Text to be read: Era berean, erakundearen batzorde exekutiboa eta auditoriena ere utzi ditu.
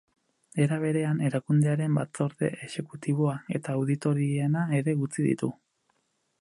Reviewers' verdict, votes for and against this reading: accepted, 6, 0